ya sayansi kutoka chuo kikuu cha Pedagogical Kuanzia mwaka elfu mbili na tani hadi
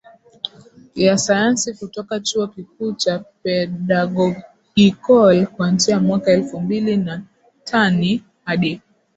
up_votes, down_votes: 0, 2